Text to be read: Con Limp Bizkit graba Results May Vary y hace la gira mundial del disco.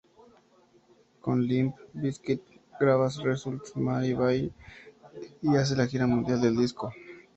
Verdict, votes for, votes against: accepted, 2, 0